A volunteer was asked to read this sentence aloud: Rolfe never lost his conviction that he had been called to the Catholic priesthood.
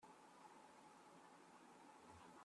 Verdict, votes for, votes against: rejected, 0, 2